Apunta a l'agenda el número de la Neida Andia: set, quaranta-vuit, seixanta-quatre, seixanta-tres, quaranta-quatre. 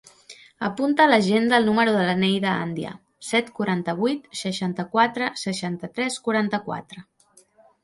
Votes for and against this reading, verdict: 0, 2, rejected